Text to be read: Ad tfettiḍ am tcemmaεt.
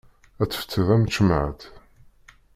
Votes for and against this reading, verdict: 1, 2, rejected